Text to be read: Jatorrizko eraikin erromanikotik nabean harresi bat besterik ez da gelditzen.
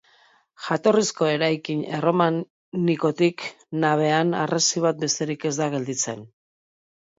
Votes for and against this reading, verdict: 0, 2, rejected